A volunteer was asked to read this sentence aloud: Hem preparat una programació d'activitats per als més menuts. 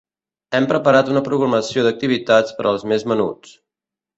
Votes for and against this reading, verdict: 3, 0, accepted